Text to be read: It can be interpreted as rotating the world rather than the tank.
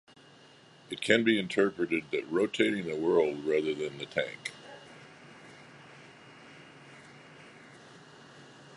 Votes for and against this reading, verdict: 0, 2, rejected